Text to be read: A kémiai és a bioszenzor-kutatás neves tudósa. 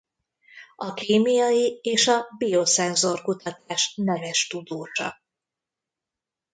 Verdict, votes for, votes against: rejected, 0, 2